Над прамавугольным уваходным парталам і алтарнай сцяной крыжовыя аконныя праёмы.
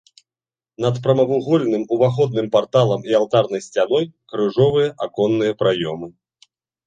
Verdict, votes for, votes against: accepted, 2, 0